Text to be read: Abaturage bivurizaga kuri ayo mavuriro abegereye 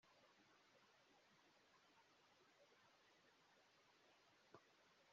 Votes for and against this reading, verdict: 0, 2, rejected